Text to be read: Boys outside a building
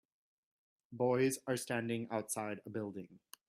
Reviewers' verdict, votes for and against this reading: rejected, 0, 2